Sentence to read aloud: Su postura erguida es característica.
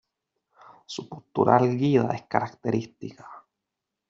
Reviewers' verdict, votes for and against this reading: accepted, 2, 0